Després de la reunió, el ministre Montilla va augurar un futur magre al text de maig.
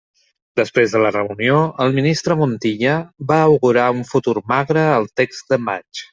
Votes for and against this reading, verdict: 3, 0, accepted